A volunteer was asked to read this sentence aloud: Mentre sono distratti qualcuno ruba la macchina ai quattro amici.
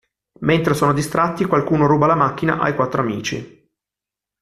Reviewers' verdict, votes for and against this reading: accepted, 2, 0